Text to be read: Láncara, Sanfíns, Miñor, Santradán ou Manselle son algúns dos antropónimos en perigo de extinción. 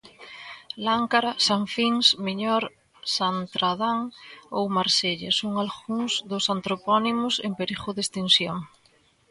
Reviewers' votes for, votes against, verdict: 0, 2, rejected